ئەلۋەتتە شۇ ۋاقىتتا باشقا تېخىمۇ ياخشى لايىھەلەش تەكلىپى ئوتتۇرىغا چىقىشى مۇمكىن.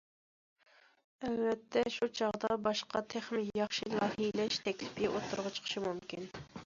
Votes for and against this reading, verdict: 0, 2, rejected